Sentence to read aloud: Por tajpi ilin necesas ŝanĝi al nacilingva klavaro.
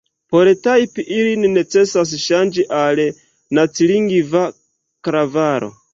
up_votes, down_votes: 2, 0